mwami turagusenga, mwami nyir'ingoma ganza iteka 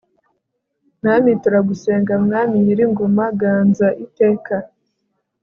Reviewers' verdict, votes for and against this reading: accepted, 2, 0